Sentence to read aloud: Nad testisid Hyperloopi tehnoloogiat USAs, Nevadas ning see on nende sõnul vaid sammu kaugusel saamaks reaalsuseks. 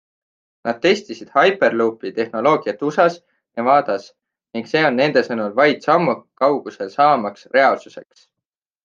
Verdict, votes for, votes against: accepted, 3, 0